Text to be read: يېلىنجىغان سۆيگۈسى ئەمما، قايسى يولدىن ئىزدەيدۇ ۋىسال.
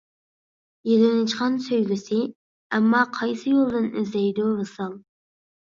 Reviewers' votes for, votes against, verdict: 2, 0, accepted